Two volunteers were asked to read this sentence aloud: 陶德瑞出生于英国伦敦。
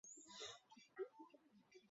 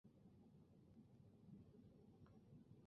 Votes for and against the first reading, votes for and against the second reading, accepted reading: 2, 1, 1, 2, first